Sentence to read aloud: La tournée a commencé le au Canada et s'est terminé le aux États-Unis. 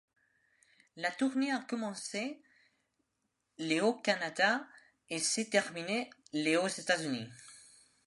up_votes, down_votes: 2, 0